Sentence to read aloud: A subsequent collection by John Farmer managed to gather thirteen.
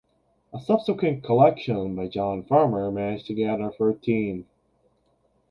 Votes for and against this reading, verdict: 2, 0, accepted